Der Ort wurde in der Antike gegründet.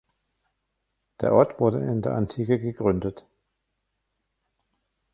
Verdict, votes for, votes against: rejected, 1, 2